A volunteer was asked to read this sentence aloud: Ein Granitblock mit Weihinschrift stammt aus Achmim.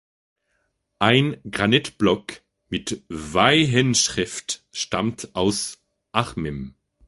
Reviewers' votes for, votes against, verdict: 1, 2, rejected